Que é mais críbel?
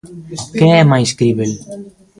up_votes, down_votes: 2, 0